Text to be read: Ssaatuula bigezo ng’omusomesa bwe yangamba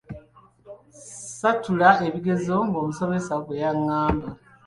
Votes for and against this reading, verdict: 2, 1, accepted